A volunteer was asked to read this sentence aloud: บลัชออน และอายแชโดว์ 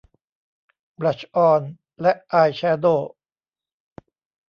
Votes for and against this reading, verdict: 3, 0, accepted